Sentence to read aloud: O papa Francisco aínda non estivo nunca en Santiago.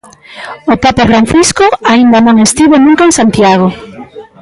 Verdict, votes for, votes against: rejected, 0, 2